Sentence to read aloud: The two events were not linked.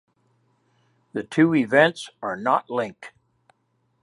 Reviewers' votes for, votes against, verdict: 1, 2, rejected